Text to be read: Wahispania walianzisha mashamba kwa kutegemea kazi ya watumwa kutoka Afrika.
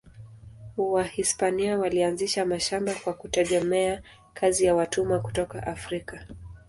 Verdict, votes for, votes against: accepted, 2, 0